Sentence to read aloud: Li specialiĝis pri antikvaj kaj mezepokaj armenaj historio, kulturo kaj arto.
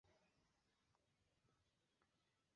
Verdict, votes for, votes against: rejected, 0, 3